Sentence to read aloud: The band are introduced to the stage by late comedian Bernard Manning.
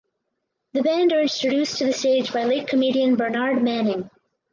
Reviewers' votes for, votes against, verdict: 0, 4, rejected